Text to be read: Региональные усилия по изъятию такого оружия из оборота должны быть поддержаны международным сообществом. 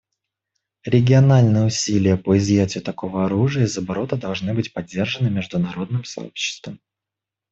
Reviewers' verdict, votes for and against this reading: accepted, 2, 0